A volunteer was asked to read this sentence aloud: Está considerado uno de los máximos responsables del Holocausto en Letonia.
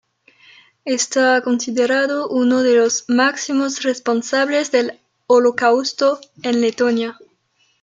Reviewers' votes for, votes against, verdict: 0, 2, rejected